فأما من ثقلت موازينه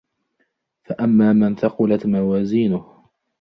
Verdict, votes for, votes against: accepted, 2, 0